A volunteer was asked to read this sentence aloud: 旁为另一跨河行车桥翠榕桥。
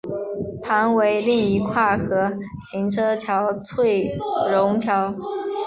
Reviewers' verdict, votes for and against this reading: accepted, 3, 0